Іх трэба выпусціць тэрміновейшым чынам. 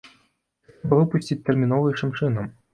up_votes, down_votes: 0, 2